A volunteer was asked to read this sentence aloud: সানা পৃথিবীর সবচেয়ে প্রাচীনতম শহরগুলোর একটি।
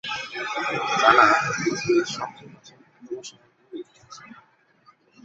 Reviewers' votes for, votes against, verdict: 2, 11, rejected